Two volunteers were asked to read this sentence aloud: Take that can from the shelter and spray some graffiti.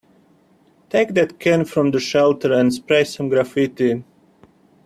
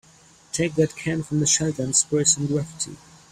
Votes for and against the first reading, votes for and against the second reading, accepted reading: 2, 1, 2, 3, first